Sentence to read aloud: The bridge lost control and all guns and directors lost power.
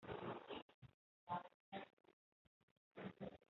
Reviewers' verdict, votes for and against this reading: rejected, 0, 3